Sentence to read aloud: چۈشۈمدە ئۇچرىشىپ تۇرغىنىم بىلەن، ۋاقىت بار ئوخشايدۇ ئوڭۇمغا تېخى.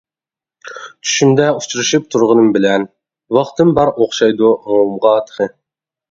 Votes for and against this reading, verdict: 0, 2, rejected